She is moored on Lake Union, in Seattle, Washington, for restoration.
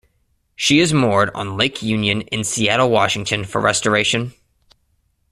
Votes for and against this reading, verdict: 2, 1, accepted